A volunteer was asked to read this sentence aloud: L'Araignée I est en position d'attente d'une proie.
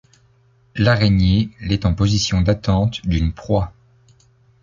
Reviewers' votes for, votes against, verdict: 0, 2, rejected